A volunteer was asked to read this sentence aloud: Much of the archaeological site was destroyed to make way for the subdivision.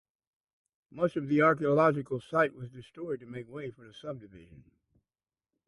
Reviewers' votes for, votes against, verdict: 2, 0, accepted